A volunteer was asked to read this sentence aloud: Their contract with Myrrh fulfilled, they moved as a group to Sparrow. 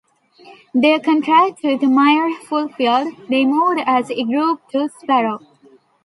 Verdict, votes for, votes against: rejected, 0, 2